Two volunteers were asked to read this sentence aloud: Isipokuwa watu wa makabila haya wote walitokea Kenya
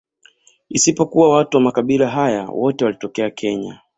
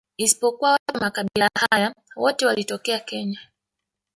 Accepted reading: first